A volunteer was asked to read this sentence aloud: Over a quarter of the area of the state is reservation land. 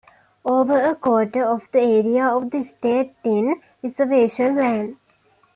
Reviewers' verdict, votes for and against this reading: rejected, 1, 2